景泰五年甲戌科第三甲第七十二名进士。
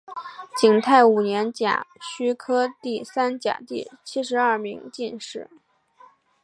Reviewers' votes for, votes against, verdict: 2, 0, accepted